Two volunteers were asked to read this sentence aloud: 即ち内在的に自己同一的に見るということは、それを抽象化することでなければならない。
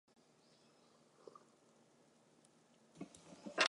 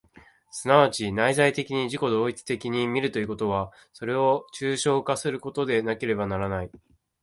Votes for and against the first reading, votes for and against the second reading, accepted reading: 0, 3, 3, 0, second